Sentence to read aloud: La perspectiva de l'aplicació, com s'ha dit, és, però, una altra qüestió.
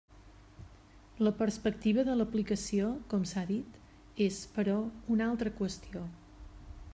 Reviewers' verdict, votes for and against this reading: accepted, 3, 0